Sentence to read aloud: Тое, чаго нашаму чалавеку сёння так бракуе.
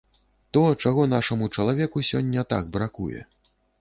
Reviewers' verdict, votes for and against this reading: rejected, 0, 2